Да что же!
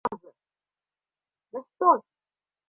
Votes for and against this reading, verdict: 0, 2, rejected